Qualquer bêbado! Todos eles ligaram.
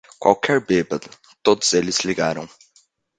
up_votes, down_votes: 1, 2